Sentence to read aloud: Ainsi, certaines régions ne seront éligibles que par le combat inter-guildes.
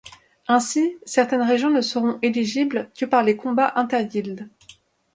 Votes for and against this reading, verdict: 0, 2, rejected